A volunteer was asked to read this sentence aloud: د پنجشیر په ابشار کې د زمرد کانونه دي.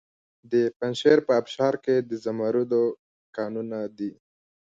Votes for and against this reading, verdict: 2, 0, accepted